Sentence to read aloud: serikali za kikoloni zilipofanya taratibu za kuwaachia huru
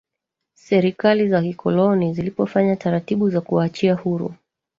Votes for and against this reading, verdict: 0, 2, rejected